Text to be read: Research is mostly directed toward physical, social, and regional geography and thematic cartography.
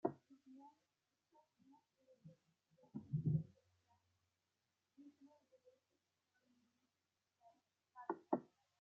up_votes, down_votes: 1, 2